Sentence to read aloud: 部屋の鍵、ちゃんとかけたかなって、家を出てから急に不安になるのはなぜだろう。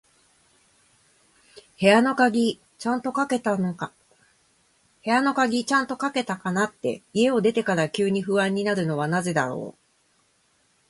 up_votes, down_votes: 1, 2